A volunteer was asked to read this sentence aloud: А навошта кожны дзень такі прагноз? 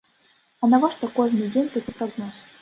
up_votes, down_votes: 1, 2